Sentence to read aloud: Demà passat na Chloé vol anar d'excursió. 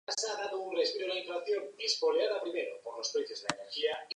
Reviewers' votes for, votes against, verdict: 0, 2, rejected